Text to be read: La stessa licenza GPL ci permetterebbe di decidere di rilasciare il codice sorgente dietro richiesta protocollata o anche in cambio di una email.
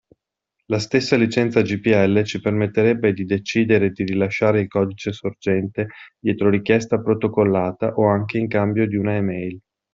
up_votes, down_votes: 2, 0